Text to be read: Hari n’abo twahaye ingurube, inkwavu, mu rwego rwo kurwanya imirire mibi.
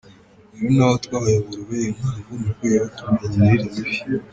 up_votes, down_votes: 2, 3